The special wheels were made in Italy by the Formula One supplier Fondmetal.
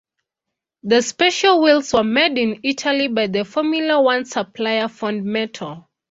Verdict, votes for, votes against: accepted, 2, 0